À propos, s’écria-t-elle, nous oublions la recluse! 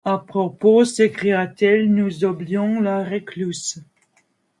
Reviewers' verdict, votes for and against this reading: rejected, 0, 2